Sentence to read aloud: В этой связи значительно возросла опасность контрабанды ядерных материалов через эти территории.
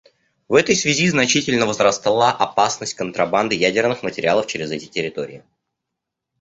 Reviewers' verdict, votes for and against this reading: rejected, 1, 2